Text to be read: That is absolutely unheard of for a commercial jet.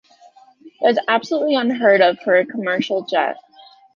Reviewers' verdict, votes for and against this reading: rejected, 1, 2